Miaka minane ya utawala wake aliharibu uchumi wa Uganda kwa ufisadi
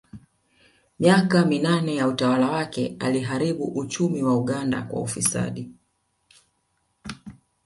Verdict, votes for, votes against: accepted, 2, 1